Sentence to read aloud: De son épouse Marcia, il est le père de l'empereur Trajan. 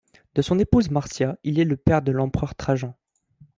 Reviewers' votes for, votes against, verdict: 2, 0, accepted